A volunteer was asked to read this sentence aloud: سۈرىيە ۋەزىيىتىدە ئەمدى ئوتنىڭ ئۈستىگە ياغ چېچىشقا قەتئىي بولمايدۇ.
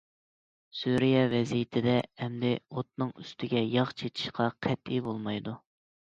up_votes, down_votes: 2, 0